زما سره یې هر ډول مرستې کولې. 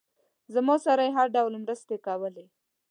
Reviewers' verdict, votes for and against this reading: accepted, 2, 0